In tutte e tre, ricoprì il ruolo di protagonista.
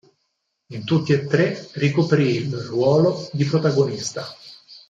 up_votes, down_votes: 2, 4